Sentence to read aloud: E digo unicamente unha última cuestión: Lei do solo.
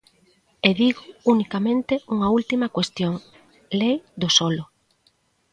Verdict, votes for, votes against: accepted, 2, 0